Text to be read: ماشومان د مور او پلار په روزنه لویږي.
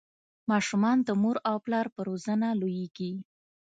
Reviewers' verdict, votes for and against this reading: accepted, 2, 0